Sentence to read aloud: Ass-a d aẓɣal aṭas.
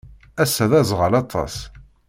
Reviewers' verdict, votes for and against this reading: accepted, 2, 0